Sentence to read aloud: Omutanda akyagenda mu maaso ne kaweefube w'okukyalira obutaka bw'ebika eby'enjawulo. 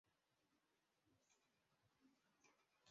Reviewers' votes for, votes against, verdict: 0, 2, rejected